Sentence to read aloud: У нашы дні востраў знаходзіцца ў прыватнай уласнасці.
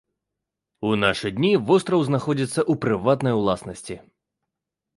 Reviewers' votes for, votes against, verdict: 2, 0, accepted